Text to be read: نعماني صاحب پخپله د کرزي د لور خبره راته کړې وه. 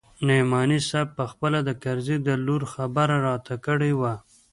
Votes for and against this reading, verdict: 2, 0, accepted